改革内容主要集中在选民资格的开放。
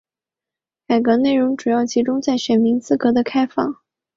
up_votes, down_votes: 3, 0